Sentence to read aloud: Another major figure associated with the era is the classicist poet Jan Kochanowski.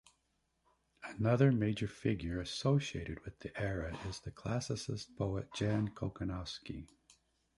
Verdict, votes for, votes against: accepted, 2, 0